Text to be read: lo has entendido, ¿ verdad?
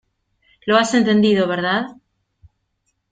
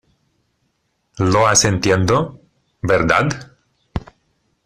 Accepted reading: first